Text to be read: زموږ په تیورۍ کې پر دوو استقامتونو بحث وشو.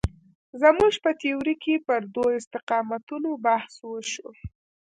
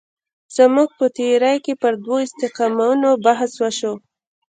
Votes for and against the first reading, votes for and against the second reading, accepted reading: 1, 2, 2, 0, second